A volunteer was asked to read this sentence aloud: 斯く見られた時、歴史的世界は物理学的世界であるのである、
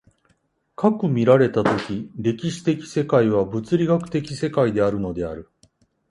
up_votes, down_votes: 2, 0